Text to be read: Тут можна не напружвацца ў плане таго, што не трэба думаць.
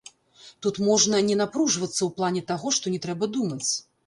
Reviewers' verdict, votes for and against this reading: rejected, 1, 2